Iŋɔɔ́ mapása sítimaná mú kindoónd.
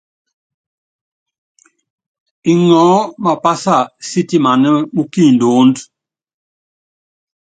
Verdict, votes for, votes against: accepted, 2, 0